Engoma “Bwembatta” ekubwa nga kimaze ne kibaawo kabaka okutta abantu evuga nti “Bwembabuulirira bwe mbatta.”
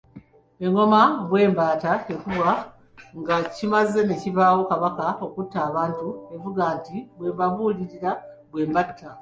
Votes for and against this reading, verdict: 2, 1, accepted